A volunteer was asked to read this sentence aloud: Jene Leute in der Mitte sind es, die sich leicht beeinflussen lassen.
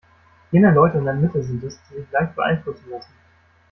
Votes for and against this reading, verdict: 0, 2, rejected